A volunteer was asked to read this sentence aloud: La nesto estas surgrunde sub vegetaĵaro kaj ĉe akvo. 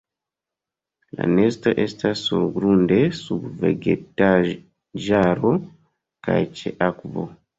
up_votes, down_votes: 1, 2